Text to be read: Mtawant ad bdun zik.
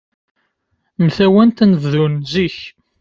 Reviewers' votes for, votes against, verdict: 0, 2, rejected